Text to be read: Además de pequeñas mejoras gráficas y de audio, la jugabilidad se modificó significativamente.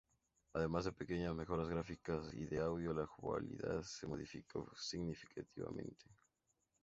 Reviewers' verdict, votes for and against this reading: accepted, 2, 0